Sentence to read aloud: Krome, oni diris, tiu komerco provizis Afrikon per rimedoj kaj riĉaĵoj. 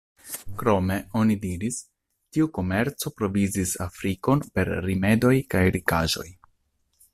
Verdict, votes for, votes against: rejected, 0, 2